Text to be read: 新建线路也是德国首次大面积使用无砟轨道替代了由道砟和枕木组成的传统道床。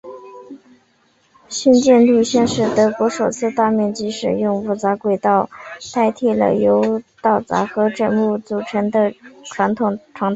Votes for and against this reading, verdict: 0, 2, rejected